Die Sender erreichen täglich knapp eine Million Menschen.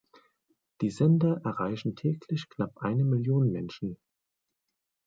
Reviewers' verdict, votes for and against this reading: accepted, 2, 0